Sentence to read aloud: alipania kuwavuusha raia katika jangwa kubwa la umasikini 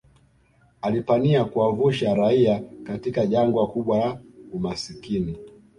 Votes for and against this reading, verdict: 2, 0, accepted